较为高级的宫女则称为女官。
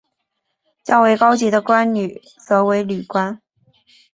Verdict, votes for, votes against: accepted, 3, 0